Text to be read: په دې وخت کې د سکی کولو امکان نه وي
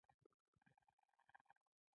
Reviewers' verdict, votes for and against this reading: rejected, 1, 2